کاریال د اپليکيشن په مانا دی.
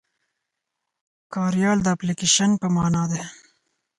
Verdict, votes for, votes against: accepted, 4, 0